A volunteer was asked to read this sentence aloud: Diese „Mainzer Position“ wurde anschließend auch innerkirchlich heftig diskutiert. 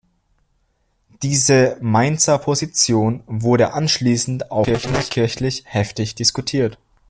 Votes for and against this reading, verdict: 0, 2, rejected